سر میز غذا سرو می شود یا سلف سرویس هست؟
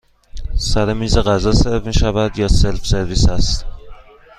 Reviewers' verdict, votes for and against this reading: accepted, 2, 0